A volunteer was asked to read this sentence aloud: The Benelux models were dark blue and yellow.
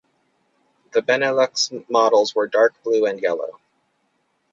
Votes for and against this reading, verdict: 2, 2, rejected